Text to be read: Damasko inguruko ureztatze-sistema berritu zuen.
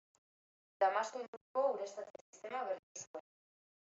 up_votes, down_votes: 0, 2